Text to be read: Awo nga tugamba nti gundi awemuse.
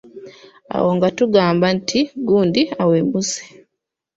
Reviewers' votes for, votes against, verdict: 0, 2, rejected